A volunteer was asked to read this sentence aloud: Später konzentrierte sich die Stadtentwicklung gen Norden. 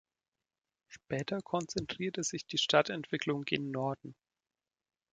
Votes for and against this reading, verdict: 3, 0, accepted